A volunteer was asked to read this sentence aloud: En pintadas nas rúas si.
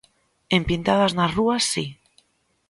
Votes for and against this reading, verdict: 2, 0, accepted